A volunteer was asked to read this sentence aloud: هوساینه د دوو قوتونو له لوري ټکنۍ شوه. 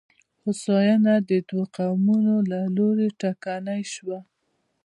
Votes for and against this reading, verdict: 2, 0, accepted